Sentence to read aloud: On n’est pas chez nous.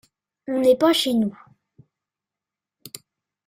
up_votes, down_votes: 2, 0